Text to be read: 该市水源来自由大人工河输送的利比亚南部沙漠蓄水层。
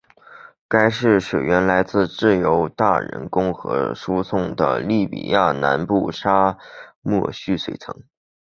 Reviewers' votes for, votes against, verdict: 2, 2, rejected